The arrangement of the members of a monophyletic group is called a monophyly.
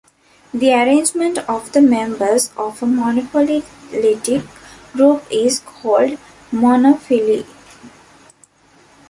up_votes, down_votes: 0, 2